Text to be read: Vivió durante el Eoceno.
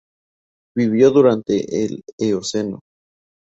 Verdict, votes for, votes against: accepted, 2, 0